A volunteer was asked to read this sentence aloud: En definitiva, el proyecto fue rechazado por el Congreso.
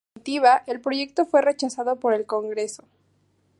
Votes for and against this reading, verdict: 0, 2, rejected